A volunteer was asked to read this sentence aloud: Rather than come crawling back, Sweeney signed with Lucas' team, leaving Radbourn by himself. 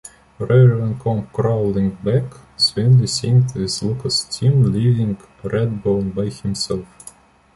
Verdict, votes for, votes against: rejected, 1, 2